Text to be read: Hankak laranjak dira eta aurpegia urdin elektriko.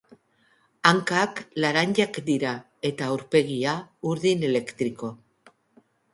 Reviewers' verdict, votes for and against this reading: accepted, 2, 0